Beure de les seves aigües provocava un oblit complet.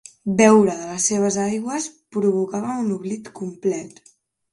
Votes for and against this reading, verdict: 2, 0, accepted